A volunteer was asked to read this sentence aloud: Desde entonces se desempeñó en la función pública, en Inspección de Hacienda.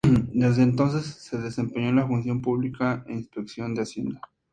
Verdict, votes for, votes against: accepted, 2, 0